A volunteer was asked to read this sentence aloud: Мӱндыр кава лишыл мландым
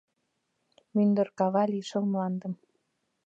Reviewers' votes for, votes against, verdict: 2, 0, accepted